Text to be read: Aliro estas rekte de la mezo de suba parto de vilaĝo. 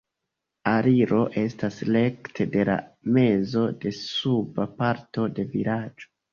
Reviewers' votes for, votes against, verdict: 1, 3, rejected